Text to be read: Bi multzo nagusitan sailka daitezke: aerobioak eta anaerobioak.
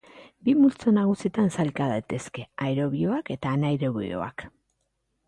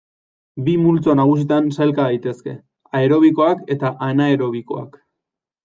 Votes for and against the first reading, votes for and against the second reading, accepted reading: 3, 0, 1, 2, first